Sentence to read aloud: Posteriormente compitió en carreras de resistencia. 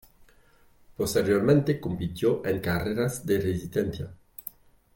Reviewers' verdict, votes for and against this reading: rejected, 1, 2